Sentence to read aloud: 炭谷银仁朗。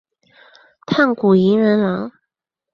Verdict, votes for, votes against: accepted, 3, 0